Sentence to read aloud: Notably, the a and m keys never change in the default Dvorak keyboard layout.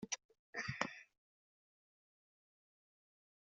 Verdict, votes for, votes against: rejected, 0, 2